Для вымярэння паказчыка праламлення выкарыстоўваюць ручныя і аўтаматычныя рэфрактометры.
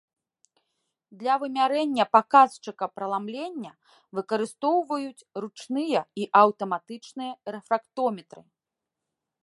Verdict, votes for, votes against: accepted, 2, 0